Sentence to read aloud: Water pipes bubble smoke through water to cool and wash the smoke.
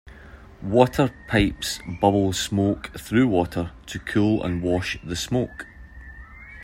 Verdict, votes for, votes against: accepted, 2, 0